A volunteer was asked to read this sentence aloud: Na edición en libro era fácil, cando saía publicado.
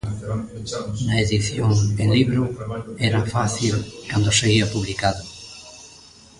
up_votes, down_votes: 0, 2